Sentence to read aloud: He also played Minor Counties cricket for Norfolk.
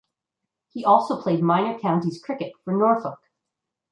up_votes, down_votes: 2, 0